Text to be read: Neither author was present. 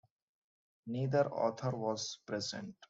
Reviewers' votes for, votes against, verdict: 2, 1, accepted